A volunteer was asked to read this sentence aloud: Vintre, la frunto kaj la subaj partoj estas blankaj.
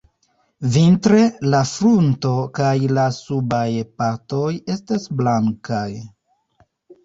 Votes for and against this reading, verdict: 1, 2, rejected